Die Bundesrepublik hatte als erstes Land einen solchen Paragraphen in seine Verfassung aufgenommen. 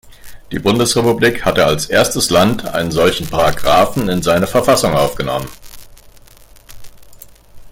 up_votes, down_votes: 2, 0